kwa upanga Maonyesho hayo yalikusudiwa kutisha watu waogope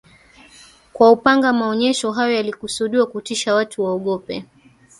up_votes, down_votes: 1, 2